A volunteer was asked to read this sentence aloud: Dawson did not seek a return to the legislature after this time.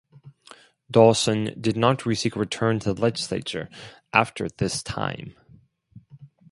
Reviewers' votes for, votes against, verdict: 0, 4, rejected